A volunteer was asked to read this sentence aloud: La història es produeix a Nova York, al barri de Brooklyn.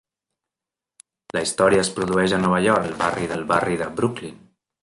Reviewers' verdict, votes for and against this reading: rejected, 0, 2